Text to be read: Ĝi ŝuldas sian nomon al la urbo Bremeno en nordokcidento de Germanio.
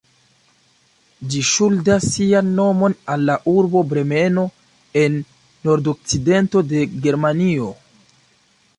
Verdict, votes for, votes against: accepted, 2, 0